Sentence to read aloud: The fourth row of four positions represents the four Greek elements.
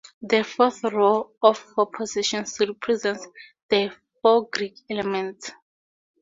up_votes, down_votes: 0, 2